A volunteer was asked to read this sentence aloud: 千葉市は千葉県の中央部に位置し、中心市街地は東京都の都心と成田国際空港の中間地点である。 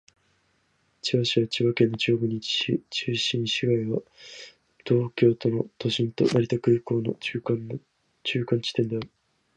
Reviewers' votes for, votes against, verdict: 2, 0, accepted